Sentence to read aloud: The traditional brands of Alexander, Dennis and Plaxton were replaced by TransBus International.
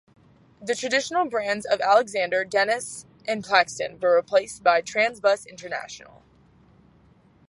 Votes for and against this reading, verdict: 2, 0, accepted